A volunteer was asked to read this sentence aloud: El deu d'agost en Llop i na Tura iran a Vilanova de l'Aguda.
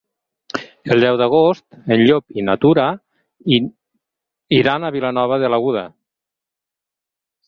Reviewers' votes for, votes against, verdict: 2, 4, rejected